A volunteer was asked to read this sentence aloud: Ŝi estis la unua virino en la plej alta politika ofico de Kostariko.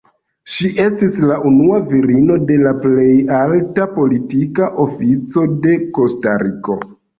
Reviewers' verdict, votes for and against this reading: rejected, 1, 2